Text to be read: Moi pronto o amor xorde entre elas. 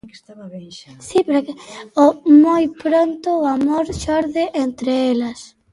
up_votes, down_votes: 0, 2